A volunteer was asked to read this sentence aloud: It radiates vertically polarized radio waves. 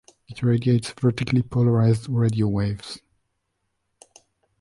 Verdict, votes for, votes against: accepted, 2, 0